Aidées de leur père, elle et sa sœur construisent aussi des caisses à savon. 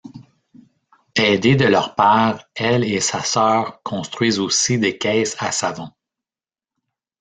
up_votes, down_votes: 2, 1